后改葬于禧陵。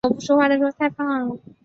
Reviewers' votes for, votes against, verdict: 0, 2, rejected